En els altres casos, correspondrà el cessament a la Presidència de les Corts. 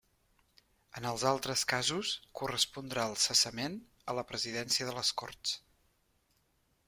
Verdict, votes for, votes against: accepted, 3, 0